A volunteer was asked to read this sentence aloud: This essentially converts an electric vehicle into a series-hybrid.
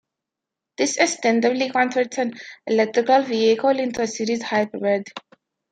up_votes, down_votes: 1, 2